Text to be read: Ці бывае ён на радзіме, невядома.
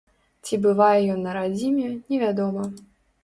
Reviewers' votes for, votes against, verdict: 3, 0, accepted